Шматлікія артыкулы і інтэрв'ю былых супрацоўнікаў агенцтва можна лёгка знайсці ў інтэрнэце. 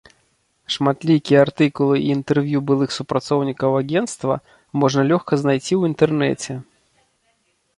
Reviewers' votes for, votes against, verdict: 1, 2, rejected